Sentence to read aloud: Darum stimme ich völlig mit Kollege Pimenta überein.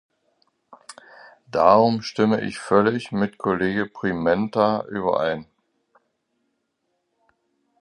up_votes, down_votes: 2, 0